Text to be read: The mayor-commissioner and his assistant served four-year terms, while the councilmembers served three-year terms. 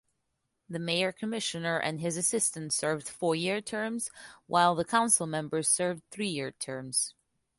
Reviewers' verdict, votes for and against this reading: accepted, 2, 1